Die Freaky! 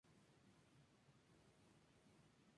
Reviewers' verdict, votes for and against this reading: rejected, 0, 2